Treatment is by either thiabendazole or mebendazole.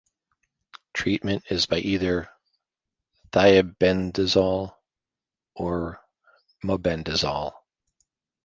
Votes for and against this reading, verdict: 1, 2, rejected